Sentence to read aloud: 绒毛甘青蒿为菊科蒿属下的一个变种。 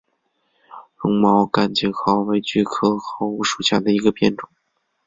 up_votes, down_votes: 2, 0